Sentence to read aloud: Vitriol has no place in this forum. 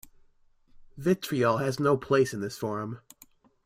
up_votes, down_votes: 2, 0